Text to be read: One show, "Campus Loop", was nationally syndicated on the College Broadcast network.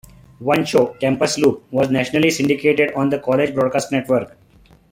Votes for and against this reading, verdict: 2, 0, accepted